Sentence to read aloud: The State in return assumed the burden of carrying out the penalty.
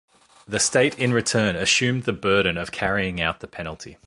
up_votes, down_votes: 2, 0